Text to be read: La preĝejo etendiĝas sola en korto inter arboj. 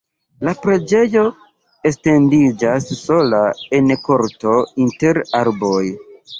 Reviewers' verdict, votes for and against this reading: rejected, 1, 2